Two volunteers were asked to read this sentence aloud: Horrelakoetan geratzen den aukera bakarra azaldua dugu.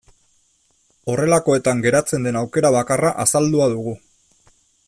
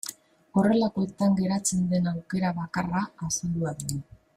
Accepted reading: first